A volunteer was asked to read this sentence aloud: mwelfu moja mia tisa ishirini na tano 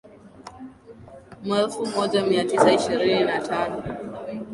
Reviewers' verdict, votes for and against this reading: accepted, 2, 1